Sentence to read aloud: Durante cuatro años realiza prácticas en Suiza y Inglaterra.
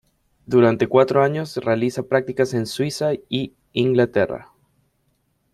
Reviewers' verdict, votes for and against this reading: accepted, 2, 0